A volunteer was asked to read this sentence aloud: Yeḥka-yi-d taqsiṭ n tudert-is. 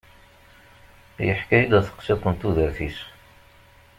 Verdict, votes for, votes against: rejected, 0, 2